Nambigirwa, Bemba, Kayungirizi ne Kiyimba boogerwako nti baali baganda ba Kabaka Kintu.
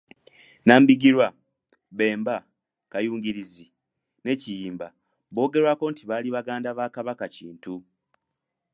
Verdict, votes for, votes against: accepted, 2, 0